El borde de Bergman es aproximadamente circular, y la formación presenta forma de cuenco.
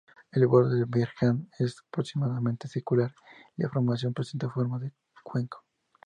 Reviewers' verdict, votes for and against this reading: rejected, 0, 2